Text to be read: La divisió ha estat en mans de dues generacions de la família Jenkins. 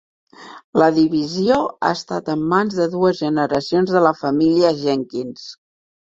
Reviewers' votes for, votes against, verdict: 3, 1, accepted